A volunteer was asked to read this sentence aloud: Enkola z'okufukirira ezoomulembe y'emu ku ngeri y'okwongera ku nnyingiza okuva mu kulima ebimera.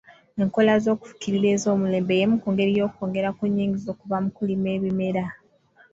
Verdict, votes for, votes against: rejected, 1, 2